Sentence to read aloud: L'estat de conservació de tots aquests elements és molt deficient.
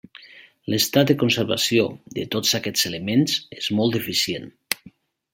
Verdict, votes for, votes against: accepted, 3, 0